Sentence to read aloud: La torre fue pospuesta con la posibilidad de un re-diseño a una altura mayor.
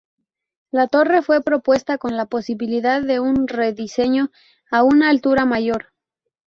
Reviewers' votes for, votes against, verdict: 0, 2, rejected